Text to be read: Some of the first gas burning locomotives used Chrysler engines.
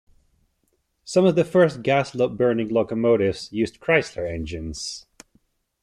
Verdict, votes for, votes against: rejected, 0, 2